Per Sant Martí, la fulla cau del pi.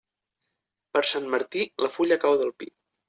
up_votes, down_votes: 3, 0